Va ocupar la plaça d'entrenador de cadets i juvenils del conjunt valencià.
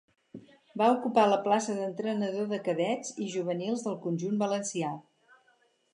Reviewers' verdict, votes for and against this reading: accepted, 4, 0